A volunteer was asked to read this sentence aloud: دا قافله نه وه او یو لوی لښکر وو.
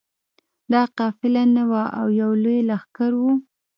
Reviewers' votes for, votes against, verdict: 2, 0, accepted